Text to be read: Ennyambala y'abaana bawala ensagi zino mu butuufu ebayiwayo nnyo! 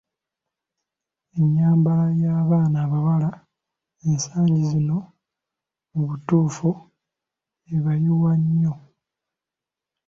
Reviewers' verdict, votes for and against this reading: rejected, 1, 2